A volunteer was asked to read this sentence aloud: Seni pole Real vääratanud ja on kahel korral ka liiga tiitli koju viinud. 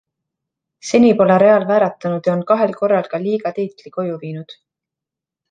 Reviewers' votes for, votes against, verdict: 2, 0, accepted